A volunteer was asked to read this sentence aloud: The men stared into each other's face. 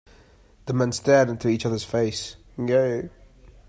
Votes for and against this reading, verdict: 0, 2, rejected